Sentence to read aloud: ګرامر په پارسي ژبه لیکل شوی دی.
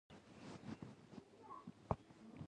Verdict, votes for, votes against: accepted, 2, 1